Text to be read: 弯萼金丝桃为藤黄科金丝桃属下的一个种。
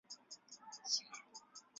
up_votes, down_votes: 0, 3